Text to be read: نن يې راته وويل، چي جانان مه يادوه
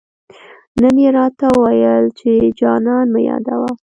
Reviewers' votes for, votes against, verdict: 2, 0, accepted